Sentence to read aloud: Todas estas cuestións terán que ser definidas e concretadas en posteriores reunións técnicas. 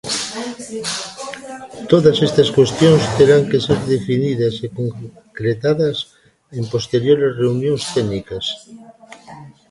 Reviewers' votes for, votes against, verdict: 0, 2, rejected